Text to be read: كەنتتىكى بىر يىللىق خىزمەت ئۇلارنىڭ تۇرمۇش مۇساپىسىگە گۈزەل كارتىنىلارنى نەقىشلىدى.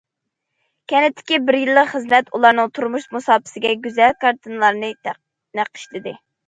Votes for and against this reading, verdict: 0, 2, rejected